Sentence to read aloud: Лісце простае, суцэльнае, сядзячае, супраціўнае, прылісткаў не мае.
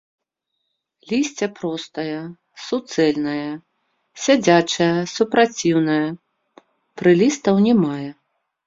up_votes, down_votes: 0, 2